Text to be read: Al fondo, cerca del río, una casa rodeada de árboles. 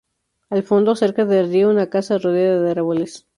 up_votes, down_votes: 2, 0